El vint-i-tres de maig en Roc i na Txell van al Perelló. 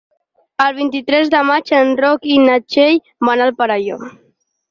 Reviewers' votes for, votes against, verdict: 4, 0, accepted